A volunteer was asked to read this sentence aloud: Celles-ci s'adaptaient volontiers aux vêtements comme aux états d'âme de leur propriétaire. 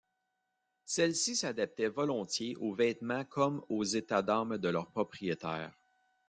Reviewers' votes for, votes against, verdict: 2, 0, accepted